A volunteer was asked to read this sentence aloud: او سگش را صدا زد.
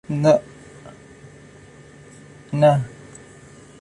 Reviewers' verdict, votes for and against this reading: rejected, 0, 2